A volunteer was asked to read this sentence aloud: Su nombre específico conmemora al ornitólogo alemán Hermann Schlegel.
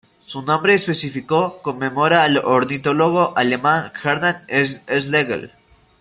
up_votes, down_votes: 0, 2